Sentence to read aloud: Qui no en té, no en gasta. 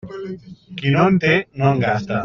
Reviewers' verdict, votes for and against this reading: rejected, 0, 2